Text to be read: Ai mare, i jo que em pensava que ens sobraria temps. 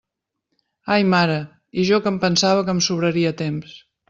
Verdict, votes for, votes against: rejected, 0, 2